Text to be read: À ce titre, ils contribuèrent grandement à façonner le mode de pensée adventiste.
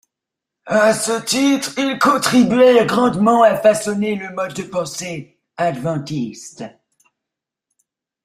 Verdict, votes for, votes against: accepted, 2, 1